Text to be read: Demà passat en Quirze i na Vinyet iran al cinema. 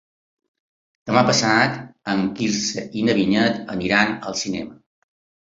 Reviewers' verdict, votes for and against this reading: rejected, 1, 2